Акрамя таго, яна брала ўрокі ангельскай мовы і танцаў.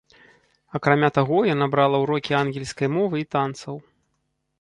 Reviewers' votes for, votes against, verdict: 1, 2, rejected